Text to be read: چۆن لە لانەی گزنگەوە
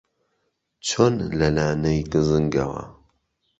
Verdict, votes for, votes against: accepted, 2, 0